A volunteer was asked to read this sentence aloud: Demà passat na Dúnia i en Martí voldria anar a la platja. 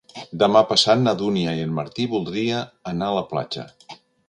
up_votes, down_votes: 3, 1